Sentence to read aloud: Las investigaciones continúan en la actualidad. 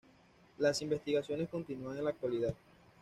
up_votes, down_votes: 2, 0